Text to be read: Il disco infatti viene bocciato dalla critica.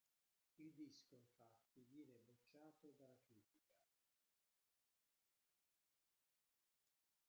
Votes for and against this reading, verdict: 0, 2, rejected